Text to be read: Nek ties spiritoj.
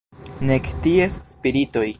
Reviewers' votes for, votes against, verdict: 2, 0, accepted